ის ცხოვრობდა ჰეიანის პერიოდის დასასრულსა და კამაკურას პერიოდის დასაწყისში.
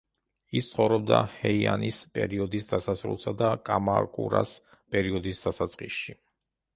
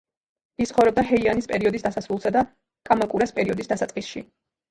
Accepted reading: second